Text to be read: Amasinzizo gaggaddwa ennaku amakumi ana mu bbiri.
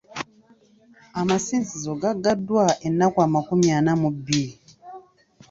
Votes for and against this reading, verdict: 2, 1, accepted